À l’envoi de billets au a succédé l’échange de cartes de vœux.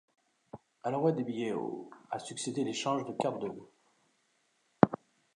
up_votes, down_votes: 2, 0